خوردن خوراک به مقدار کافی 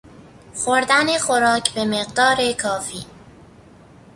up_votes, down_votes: 2, 0